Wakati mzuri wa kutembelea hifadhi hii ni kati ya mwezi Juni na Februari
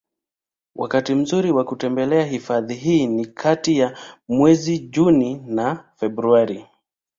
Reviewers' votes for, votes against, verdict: 2, 0, accepted